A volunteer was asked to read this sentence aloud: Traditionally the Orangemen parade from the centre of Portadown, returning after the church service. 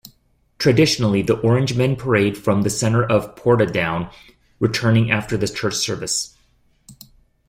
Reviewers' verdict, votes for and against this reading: accepted, 2, 0